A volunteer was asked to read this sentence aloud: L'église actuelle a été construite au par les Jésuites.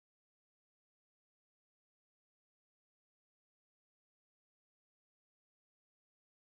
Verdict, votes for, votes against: rejected, 0, 2